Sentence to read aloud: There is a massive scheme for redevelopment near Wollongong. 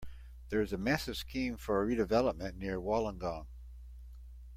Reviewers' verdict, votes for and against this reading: accepted, 2, 0